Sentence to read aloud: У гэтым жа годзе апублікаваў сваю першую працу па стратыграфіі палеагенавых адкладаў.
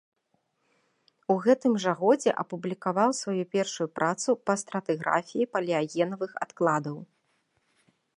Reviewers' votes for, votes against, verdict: 2, 0, accepted